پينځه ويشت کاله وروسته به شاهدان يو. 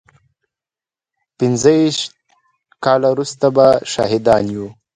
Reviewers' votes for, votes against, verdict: 2, 0, accepted